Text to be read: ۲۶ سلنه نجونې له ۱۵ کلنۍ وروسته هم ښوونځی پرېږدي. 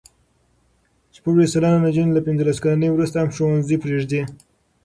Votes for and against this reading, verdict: 0, 2, rejected